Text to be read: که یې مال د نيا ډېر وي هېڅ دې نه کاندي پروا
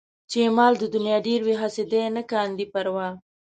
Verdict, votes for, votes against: rejected, 1, 2